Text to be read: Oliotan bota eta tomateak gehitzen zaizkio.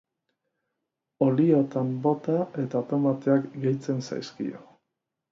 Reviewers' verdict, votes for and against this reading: accepted, 2, 1